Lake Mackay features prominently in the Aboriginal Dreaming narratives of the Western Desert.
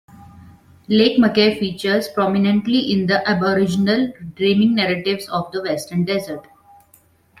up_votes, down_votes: 1, 2